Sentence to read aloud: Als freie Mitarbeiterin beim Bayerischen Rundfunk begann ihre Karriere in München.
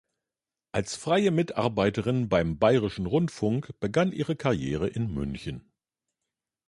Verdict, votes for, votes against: accepted, 2, 0